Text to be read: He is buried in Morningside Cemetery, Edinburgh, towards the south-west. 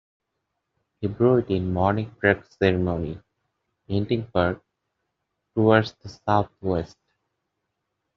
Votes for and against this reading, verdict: 2, 0, accepted